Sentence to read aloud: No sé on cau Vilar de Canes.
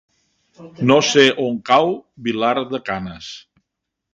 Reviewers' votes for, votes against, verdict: 4, 1, accepted